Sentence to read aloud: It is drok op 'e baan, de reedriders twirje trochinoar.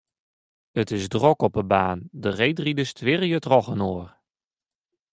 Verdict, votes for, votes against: rejected, 0, 2